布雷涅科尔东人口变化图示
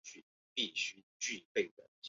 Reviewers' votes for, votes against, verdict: 1, 2, rejected